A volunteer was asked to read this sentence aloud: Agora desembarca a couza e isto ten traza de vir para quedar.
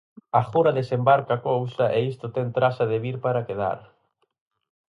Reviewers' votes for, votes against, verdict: 4, 0, accepted